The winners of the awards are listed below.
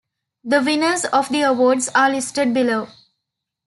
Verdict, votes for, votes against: rejected, 1, 2